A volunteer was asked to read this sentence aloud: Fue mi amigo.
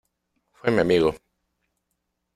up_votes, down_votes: 1, 2